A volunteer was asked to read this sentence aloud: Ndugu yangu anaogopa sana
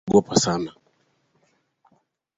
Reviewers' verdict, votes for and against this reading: rejected, 0, 4